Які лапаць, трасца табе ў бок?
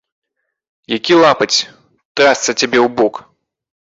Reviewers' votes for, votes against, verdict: 2, 3, rejected